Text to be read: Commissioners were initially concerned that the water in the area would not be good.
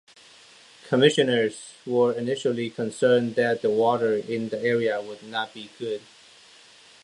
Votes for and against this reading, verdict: 2, 0, accepted